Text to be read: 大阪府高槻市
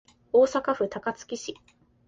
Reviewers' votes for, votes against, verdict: 3, 0, accepted